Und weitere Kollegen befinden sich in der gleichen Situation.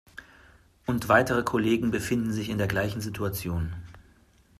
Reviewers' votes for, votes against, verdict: 2, 0, accepted